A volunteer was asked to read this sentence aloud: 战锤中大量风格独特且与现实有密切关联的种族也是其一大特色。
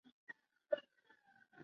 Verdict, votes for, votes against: rejected, 0, 2